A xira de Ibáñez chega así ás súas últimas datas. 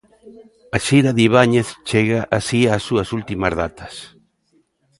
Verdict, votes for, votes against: accepted, 2, 0